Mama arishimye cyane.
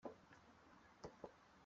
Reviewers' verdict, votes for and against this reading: rejected, 0, 2